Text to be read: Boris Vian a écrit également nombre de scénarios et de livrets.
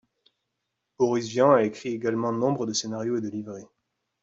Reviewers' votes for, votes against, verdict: 2, 0, accepted